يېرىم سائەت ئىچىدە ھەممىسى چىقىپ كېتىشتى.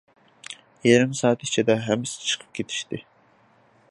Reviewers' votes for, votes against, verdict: 2, 0, accepted